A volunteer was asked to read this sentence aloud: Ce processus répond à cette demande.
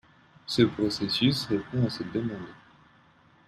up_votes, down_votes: 1, 2